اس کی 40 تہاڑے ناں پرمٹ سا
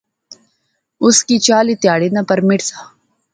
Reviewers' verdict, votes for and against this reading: rejected, 0, 2